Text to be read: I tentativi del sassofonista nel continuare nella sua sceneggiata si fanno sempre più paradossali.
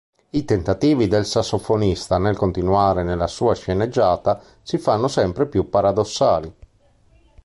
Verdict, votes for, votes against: accepted, 2, 0